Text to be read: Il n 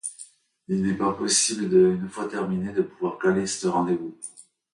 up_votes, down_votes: 0, 2